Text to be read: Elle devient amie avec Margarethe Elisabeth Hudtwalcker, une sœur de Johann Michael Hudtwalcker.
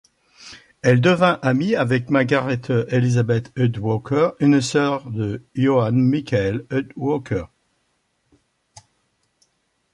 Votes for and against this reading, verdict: 0, 2, rejected